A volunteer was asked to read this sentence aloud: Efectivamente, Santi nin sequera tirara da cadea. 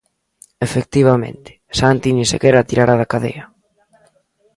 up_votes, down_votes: 2, 0